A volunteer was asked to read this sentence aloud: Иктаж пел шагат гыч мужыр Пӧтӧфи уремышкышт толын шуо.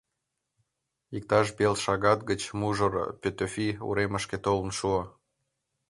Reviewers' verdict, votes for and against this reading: rejected, 1, 2